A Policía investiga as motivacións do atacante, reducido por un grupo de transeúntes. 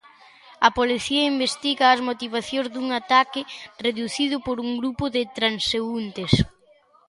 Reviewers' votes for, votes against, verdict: 0, 2, rejected